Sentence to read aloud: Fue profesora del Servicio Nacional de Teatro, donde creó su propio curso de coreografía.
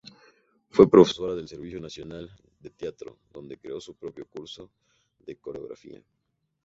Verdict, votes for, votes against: rejected, 2, 2